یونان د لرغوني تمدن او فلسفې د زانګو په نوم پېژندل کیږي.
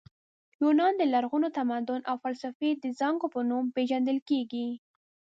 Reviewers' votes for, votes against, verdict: 0, 2, rejected